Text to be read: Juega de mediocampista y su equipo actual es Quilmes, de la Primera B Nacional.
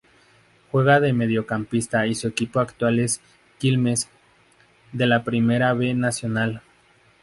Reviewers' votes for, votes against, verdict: 2, 2, rejected